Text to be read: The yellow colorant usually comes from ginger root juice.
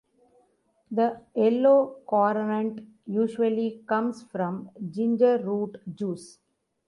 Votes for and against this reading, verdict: 1, 2, rejected